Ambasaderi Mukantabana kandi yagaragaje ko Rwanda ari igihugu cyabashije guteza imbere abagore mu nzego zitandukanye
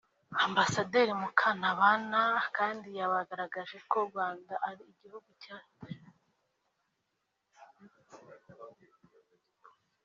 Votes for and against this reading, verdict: 0, 2, rejected